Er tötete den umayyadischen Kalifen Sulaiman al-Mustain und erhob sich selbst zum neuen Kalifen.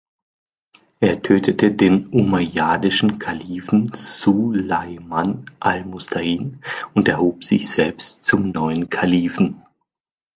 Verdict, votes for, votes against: accepted, 2, 1